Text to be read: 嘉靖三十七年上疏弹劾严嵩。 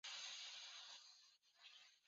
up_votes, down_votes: 0, 3